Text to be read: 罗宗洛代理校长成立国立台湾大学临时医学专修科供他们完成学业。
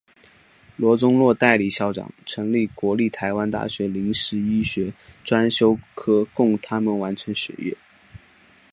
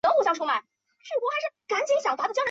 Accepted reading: first